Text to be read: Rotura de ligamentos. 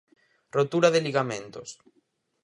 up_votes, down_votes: 4, 0